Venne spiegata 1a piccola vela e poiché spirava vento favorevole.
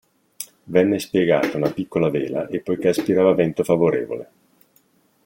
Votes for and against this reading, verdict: 0, 2, rejected